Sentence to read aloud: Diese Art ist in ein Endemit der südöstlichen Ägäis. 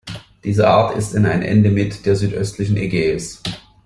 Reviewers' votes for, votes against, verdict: 2, 0, accepted